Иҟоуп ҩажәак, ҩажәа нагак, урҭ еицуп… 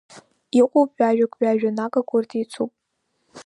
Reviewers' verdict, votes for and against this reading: accepted, 2, 1